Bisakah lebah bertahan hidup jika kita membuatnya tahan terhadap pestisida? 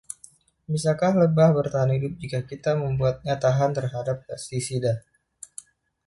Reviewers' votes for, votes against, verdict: 1, 2, rejected